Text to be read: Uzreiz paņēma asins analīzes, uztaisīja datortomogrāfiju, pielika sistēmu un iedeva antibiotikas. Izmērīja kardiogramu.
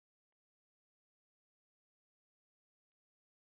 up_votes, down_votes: 0, 2